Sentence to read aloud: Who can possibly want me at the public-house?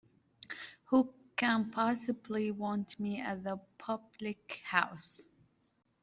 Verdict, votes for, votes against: accepted, 2, 0